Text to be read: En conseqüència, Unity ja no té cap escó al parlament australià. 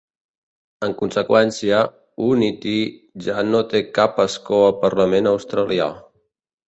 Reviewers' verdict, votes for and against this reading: accepted, 2, 0